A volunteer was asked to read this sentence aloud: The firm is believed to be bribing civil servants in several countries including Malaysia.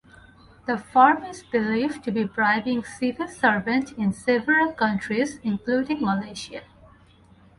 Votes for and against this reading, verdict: 2, 2, rejected